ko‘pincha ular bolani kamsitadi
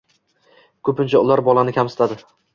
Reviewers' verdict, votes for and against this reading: accepted, 2, 0